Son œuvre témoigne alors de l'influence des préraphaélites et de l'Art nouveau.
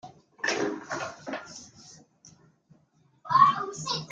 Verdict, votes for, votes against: rejected, 0, 2